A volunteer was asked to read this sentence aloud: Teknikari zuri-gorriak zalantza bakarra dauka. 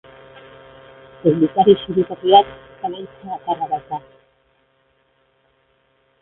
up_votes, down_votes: 0, 2